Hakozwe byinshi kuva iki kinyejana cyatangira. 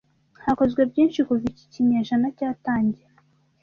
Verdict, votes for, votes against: accepted, 2, 0